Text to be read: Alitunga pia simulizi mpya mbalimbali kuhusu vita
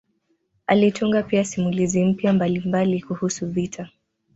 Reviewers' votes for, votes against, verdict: 2, 0, accepted